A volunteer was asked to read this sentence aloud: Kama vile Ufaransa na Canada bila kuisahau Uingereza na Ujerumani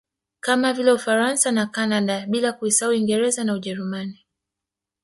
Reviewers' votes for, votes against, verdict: 1, 2, rejected